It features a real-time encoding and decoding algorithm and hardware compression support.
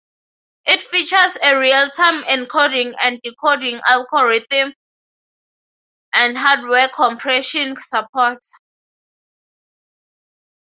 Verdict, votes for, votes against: accepted, 6, 0